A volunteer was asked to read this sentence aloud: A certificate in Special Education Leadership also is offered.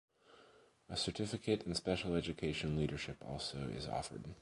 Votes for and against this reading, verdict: 2, 0, accepted